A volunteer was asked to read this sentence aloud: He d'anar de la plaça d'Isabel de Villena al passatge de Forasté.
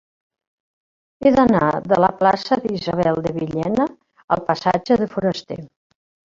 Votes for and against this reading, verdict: 0, 2, rejected